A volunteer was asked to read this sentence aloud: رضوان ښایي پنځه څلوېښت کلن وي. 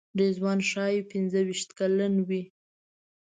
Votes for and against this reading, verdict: 0, 2, rejected